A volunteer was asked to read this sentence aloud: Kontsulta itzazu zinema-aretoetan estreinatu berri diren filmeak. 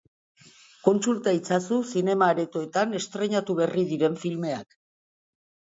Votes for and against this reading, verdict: 2, 0, accepted